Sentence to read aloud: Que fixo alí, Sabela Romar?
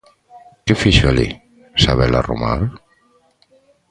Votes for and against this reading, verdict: 2, 0, accepted